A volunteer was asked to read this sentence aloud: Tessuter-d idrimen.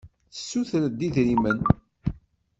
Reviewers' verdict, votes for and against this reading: accepted, 2, 0